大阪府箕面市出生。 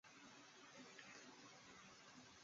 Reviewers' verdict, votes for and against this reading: rejected, 0, 2